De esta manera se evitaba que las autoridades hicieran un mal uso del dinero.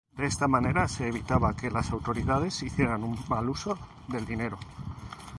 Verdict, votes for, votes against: accepted, 2, 0